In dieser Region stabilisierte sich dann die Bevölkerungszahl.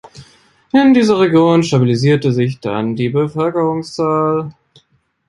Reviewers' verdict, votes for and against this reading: accepted, 2, 0